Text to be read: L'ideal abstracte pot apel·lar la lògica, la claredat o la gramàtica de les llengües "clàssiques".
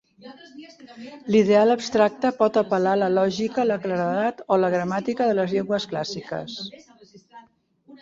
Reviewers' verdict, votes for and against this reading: rejected, 1, 2